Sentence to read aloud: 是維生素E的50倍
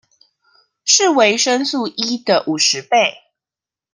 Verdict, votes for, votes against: rejected, 0, 2